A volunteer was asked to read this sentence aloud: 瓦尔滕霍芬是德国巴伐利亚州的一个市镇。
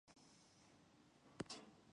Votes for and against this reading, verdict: 2, 3, rejected